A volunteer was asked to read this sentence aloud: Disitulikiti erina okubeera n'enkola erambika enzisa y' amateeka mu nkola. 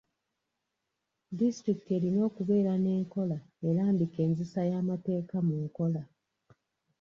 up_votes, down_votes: 1, 2